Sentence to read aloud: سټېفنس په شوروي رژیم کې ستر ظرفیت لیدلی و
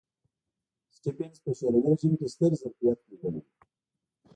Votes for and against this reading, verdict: 1, 2, rejected